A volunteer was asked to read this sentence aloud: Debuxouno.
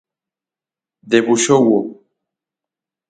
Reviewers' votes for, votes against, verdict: 0, 6, rejected